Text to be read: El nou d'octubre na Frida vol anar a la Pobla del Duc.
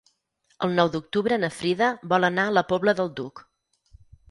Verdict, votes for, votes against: accepted, 6, 0